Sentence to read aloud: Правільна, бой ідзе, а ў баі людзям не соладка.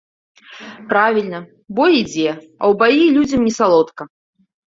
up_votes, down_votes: 0, 2